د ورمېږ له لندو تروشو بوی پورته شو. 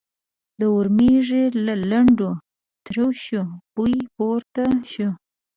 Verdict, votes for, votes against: rejected, 1, 2